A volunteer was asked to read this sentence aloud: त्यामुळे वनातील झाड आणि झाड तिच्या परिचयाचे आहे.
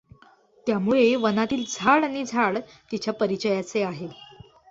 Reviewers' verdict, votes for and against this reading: accepted, 2, 0